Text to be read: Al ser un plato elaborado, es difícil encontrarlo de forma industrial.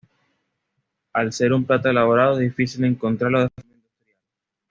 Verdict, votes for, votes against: rejected, 1, 2